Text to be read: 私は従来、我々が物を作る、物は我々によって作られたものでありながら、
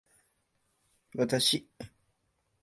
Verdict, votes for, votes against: rejected, 0, 2